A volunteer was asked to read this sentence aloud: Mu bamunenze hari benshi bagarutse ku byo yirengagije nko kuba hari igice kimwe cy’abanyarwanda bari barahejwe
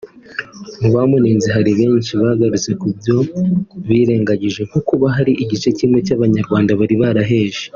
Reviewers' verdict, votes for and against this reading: rejected, 1, 2